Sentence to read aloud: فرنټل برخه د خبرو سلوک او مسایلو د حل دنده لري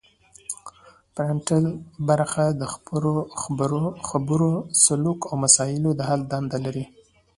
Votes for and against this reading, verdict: 0, 2, rejected